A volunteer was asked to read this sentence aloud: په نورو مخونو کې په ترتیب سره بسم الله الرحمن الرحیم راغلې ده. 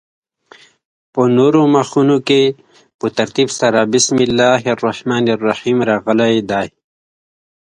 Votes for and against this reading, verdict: 1, 2, rejected